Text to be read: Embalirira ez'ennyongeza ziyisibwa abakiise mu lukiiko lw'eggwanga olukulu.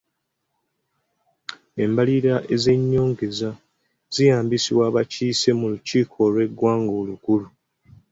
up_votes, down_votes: 2, 1